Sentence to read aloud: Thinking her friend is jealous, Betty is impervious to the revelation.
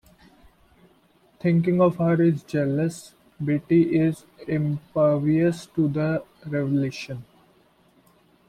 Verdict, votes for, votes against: rejected, 0, 2